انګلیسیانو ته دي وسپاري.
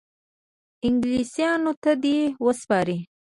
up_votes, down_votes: 2, 0